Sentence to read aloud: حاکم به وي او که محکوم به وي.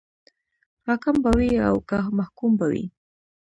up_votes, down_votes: 2, 0